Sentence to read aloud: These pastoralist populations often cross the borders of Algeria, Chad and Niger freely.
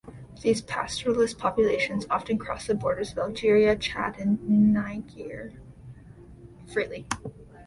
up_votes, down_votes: 1, 2